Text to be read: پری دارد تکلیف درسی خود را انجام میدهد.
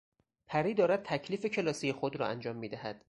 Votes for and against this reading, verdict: 2, 4, rejected